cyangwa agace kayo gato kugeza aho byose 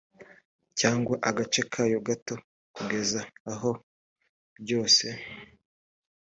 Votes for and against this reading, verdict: 2, 0, accepted